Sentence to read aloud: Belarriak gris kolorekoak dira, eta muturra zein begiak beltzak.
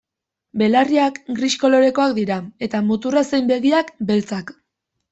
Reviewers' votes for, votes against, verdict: 2, 0, accepted